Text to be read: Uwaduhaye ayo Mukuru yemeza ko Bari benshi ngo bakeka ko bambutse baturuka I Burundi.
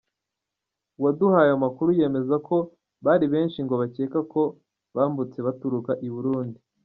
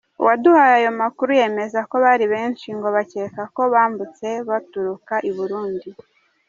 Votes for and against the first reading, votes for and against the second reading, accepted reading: 0, 2, 2, 0, second